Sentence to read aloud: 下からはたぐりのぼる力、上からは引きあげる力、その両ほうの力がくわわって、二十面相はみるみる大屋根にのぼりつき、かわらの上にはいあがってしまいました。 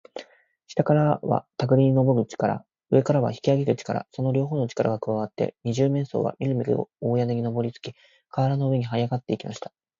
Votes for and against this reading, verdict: 0, 2, rejected